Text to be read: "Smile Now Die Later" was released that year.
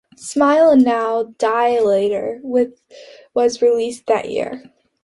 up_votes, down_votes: 3, 1